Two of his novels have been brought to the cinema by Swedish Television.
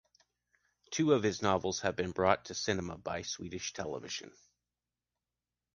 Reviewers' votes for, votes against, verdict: 2, 1, accepted